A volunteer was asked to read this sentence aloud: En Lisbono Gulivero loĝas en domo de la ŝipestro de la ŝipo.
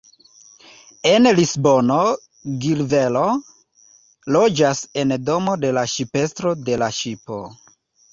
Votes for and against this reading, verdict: 2, 0, accepted